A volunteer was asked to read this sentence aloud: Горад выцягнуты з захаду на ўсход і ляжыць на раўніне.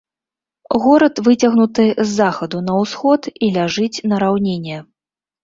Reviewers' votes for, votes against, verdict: 2, 0, accepted